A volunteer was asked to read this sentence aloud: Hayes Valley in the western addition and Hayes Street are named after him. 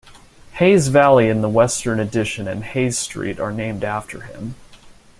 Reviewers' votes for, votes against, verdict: 3, 0, accepted